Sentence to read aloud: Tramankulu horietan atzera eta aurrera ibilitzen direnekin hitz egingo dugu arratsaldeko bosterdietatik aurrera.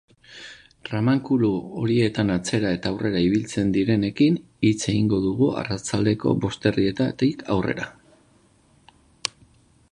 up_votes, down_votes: 2, 0